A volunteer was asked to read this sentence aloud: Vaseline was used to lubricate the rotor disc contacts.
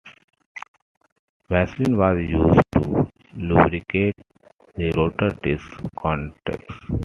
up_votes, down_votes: 2, 0